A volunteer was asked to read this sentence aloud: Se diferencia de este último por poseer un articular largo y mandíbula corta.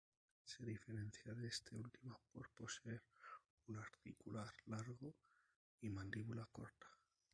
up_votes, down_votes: 0, 2